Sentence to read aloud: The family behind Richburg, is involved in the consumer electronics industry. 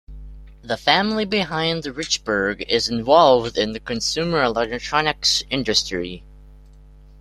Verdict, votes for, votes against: accepted, 2, 1